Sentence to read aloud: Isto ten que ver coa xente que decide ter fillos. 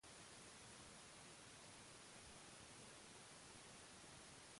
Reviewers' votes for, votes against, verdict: 0, 2, rejected